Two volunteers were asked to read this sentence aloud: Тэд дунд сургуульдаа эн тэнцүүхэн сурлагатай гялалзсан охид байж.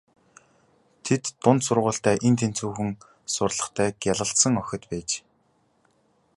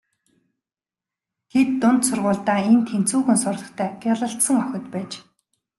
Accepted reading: second